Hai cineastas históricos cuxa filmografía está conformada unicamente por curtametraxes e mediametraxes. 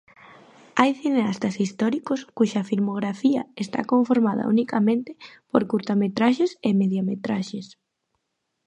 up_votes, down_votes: 2, 0